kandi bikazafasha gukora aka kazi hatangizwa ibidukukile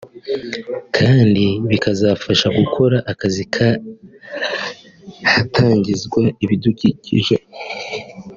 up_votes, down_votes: 0, 2